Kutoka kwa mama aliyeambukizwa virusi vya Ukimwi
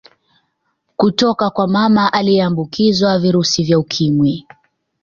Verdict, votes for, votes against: accepted, 2, 0